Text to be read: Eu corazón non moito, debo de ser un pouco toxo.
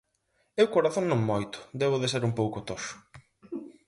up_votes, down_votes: 4, 0